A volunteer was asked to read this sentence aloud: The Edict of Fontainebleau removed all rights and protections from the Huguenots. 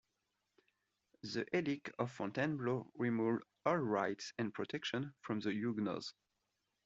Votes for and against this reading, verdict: 2, 1, accepted